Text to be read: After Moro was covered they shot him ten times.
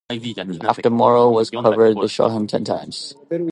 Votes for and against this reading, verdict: 1, 2, rejected